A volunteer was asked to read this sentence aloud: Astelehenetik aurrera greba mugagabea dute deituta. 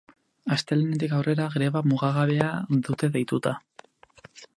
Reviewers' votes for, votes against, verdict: 4, 0, accepted